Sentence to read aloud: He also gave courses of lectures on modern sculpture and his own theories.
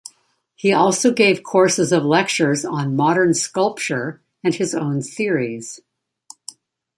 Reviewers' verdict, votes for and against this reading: accepted, 2, 0